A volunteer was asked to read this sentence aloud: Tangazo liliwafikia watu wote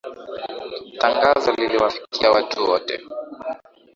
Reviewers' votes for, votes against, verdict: 7, 1, accepted